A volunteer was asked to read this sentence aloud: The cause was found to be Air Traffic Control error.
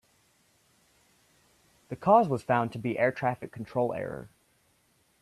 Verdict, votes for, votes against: accepted, 2, 0